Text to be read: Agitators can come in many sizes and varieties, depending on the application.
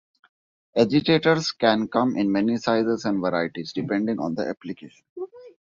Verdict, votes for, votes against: accepted, 2, 1